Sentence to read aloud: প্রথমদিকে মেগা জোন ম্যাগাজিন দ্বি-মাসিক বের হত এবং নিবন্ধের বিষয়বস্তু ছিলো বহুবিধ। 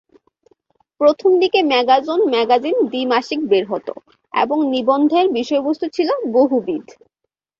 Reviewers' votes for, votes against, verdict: 5, 0, accepted